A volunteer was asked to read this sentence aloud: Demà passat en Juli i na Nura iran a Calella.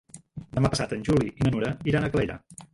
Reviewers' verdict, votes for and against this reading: rejected, 0, 2